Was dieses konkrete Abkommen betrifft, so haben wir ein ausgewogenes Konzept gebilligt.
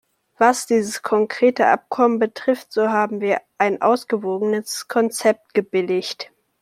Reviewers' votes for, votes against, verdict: 2, 0, accepted